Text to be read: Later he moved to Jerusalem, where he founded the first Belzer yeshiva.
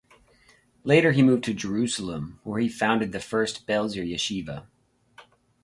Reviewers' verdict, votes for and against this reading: accepted, 2, 0